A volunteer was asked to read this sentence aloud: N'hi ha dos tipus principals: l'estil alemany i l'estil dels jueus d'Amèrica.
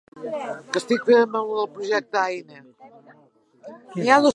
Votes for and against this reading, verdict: 0, 2, rejected